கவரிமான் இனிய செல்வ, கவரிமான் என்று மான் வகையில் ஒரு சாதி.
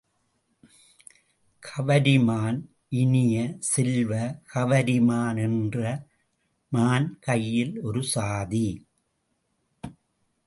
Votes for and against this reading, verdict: 0, 2, rejected